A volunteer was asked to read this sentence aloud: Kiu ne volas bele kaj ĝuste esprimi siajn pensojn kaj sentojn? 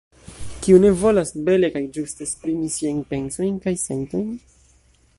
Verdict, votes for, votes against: rejected, 1, 2